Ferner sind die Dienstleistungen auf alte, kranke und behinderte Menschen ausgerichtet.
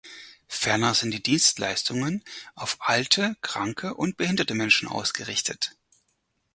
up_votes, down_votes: 4, 0